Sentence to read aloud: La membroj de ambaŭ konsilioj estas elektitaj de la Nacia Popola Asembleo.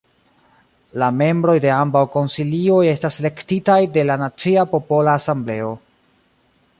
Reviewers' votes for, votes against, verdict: 0, 2, rejected